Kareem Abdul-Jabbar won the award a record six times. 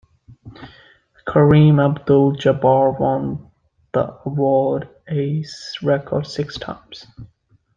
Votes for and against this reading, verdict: 2, 0, accepted